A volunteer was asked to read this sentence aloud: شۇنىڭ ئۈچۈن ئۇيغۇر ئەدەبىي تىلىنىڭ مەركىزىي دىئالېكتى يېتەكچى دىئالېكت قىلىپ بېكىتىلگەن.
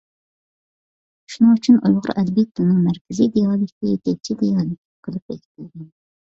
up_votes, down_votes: 1, 2